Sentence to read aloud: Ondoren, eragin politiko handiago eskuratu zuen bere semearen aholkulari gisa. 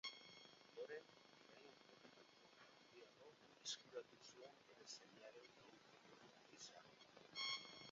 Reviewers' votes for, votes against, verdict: 0, 2, rejected